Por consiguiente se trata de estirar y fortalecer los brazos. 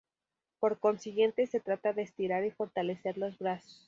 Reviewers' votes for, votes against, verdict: 2, 0, accepted